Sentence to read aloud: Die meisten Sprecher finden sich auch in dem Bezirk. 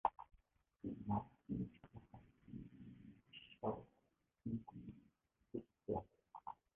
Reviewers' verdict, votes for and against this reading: rejected, 0, 2